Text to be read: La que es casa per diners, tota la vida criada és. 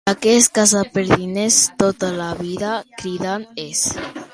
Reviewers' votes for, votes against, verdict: 1, 2, rejected